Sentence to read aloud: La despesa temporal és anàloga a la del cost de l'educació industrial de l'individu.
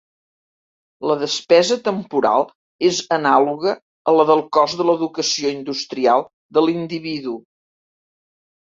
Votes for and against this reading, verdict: 2, 0, accepted